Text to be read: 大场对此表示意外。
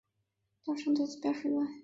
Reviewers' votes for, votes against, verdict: 2, 0, accepted